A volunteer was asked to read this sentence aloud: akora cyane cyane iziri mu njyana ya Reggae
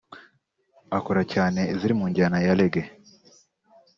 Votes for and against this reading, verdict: 2, 3, rejected